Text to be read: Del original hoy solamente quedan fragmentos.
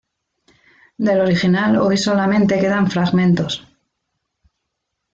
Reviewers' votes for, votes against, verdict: 2, 1, accepted